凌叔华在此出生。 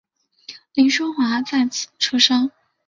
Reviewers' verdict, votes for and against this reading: accepted, 3, 0